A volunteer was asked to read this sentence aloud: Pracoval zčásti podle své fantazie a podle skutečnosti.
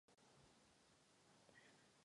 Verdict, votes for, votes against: rejected, 0, 2